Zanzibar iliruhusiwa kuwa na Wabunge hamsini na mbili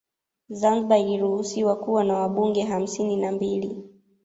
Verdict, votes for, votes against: rejected, 1, 2